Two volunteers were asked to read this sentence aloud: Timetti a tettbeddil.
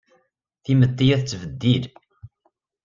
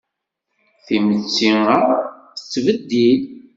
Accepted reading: first